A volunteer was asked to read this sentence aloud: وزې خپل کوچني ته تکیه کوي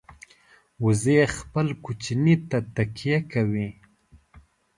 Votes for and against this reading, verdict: 0, 2, rejected